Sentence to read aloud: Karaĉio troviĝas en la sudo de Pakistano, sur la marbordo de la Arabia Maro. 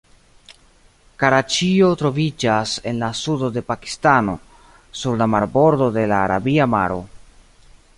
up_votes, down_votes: 2, 0